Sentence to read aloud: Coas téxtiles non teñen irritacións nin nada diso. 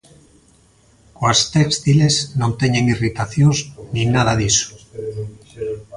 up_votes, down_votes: 0, 2